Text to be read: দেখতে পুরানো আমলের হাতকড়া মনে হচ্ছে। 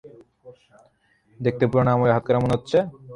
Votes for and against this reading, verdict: 3, 0, accepted